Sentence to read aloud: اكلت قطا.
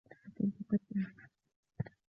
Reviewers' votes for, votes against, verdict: 1, 2, rejected